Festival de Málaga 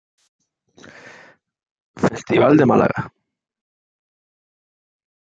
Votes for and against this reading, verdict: 2, 1, accepted